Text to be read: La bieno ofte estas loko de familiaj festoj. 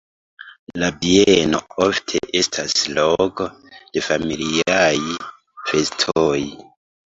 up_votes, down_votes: 2, 3